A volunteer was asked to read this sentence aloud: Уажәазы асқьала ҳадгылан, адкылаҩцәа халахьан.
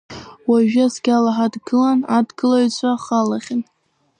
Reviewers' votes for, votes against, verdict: 0, 2, rejected